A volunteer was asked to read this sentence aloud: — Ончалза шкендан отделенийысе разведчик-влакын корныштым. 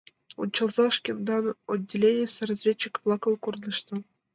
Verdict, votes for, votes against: accepted, 2, 0